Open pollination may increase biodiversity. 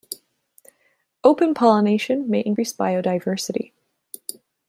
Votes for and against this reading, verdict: 2, 0, accepted